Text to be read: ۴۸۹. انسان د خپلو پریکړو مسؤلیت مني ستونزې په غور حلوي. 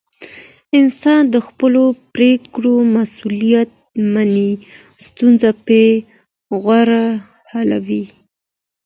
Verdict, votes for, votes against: rejected, 0, 2